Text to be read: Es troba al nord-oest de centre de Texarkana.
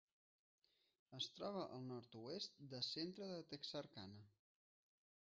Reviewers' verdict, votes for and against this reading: rejected, 0, 2